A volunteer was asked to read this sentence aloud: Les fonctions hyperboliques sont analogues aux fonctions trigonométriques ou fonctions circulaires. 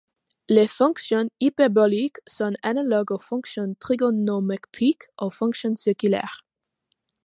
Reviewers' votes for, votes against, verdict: 1, 2, rejected